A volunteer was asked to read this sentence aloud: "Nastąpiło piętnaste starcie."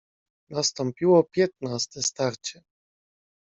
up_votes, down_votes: 2, 0